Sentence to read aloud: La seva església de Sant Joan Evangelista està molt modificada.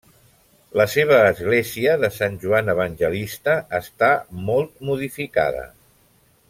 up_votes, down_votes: 1, 2